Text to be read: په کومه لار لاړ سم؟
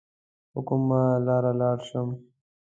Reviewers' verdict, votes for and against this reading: accepted, 2, 0